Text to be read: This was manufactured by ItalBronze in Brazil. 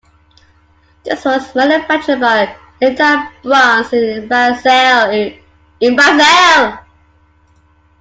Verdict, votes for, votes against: rejected, 0, 3